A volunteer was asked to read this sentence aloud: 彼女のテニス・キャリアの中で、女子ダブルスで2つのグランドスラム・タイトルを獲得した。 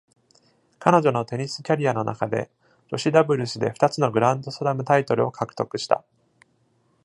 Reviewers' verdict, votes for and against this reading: rejected, 0, 2